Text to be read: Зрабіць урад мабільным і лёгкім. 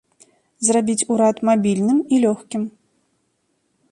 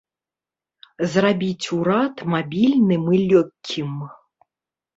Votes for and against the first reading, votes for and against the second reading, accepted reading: 2, 0, 0, 2, first